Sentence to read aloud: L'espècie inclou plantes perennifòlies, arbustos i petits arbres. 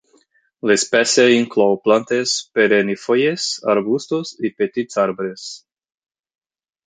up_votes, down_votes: 12, 18